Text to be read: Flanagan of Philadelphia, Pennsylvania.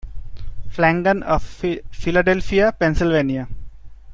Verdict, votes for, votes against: accepted, 2, 0